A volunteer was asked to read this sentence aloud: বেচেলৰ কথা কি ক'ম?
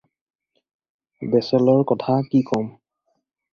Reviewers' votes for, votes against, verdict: 4, 0, accepted